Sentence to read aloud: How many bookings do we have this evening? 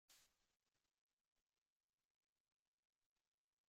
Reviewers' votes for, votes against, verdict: 0, 2, rejected